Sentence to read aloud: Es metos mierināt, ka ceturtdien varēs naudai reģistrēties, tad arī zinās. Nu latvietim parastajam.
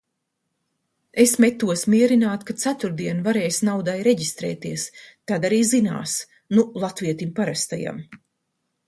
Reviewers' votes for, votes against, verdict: 2, 0, accepted